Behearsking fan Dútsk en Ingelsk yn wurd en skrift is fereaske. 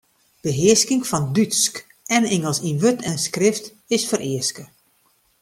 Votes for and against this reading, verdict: 2, 0, accepted